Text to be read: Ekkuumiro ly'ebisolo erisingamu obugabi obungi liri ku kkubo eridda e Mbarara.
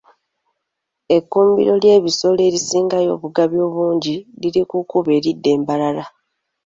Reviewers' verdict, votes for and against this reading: accepted, 2, 1